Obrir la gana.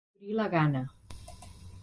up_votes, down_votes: 1, 2